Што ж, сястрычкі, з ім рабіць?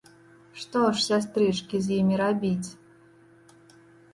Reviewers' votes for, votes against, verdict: 1, 2, rejected